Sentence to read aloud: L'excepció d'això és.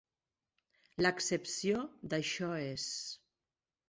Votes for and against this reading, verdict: 3, 0, accepted